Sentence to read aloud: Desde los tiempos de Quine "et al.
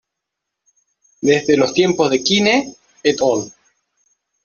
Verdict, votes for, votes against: rejected, 1, 2